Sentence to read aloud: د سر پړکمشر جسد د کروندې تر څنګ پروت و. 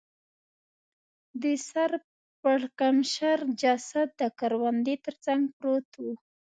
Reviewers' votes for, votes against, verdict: 1, 2, rejected